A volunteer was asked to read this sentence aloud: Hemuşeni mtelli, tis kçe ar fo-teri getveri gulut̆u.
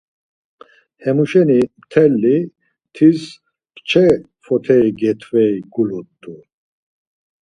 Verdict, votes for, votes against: rejected, 0, 4